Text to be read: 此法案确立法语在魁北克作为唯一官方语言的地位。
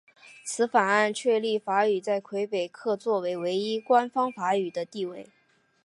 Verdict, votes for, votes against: rejected, 1, 2